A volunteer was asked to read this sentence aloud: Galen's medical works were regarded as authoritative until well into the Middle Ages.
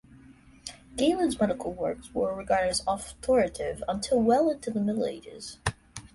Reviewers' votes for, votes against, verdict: 2, 1, accepted